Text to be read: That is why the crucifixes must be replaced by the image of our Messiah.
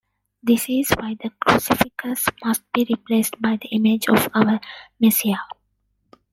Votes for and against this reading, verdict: 1, 2, rejected